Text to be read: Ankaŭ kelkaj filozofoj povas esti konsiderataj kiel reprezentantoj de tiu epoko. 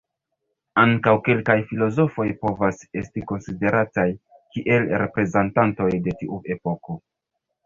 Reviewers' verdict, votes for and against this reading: rejected, 0, 2